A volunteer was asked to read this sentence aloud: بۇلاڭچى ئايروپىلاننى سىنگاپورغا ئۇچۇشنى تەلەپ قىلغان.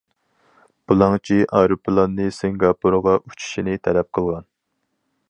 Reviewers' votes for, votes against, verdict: 0, 4, rejected